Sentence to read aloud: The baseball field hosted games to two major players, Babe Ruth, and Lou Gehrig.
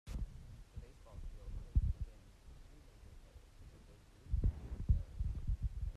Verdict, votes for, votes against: rejected, 0, 2